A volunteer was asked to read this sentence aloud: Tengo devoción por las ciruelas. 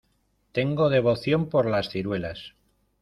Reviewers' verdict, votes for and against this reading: accepted, 2, 0